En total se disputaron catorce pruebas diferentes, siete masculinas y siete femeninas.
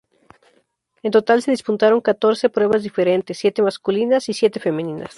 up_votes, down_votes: 2, 0